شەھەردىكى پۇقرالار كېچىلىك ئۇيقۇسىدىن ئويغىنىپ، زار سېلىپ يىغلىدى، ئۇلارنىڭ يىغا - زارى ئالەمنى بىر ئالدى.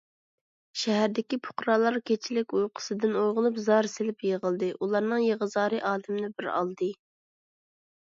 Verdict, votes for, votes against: accepted, 2, 0